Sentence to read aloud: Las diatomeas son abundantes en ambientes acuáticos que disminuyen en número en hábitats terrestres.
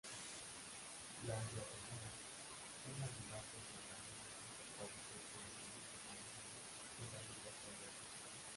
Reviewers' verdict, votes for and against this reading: rejected, 0, 2